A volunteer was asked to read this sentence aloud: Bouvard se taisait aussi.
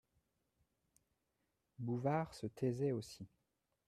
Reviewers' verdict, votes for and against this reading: rejected, 0, 2